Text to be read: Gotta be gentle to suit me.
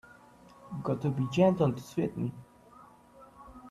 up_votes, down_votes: 2, 1